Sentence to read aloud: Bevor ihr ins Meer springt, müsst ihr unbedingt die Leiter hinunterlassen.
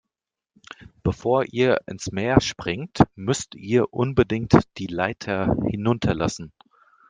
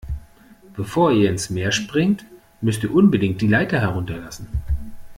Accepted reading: first